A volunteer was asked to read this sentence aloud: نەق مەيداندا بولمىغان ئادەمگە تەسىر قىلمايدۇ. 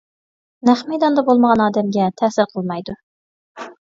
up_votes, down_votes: 2, 0